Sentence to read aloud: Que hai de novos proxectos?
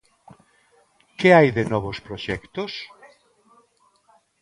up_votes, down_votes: 2, 0